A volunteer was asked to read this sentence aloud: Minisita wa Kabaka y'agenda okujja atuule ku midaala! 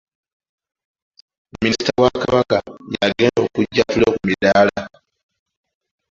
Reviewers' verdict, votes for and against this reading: rejected, 0, 2